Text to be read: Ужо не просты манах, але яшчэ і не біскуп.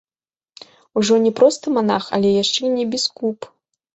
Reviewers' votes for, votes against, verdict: 0, 2, rejected